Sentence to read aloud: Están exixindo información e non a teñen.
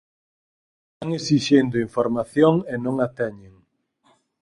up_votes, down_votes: 0, 4